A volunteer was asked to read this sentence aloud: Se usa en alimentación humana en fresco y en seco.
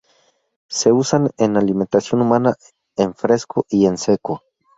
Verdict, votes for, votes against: rejected, 0, 2